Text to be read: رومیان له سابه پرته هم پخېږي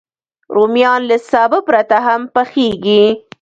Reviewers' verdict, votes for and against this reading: rejected, 1, 2